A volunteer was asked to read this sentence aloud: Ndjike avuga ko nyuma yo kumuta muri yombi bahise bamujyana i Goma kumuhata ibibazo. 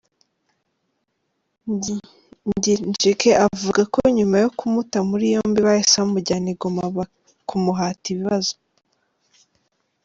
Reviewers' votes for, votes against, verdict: 0, 2, rejected